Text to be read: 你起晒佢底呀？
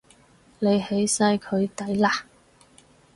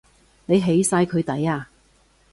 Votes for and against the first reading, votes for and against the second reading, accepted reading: 0, 4, 2, 0, second